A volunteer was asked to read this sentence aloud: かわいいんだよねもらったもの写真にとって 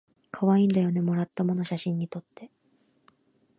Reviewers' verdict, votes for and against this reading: accepted, 2, 1